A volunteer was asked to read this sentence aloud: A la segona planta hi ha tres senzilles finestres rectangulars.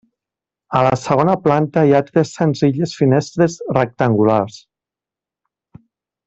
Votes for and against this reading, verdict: 0, 2, rejected